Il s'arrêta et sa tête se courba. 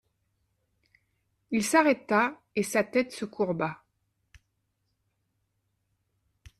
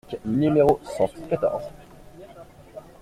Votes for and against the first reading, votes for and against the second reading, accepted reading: 2, 0, 0, 2, first